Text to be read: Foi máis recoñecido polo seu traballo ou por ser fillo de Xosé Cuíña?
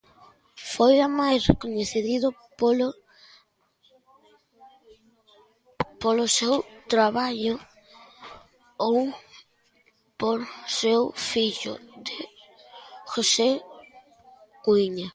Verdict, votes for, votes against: rejected, 0, 2